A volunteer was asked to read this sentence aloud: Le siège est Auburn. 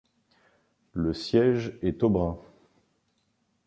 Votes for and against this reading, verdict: 0, 2, rejected